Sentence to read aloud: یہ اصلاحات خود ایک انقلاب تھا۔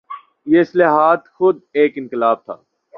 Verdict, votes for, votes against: accepted, 2, 0